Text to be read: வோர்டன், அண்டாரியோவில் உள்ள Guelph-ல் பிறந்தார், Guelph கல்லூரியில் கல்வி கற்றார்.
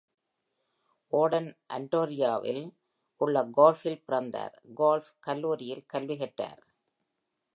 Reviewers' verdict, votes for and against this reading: accepted, 2, 0